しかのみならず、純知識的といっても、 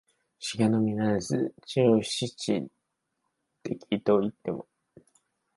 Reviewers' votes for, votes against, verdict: 1, 2, rejected